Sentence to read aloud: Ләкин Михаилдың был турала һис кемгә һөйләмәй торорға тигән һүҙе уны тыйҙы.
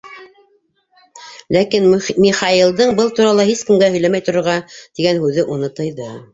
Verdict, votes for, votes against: rejected, 0, 2